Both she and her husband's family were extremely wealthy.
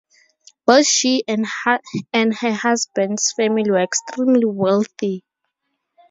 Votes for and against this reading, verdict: 0, 2, rejected